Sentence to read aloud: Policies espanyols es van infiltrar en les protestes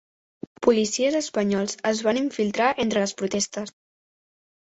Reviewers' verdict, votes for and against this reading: rejected, 0, 2